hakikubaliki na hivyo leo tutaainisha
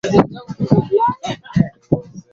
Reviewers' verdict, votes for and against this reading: rejected, 0, 2